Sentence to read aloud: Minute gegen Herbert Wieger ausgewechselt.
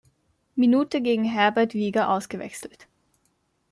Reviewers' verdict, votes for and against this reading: accepted, 2, 0